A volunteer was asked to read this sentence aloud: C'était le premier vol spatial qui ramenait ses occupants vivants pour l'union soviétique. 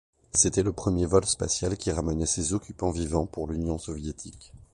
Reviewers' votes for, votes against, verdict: 2, 0, accepted